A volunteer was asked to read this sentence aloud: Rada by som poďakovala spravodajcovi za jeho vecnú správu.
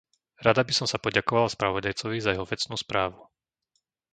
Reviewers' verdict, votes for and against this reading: rejected, 0, 2